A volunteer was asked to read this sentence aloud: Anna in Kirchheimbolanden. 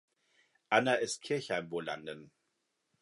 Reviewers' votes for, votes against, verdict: 0, 2, rejected